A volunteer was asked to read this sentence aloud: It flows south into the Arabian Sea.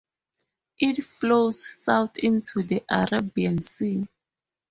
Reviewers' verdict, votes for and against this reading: rejected, 2, 2